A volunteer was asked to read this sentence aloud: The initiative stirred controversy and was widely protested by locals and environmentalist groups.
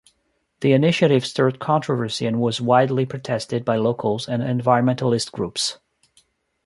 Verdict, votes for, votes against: accepted, 2, 0